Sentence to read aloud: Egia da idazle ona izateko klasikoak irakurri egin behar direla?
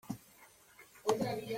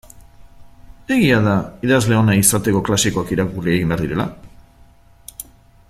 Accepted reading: second